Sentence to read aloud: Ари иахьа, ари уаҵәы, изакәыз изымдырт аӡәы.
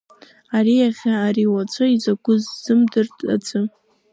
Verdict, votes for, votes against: accepted, 2, 1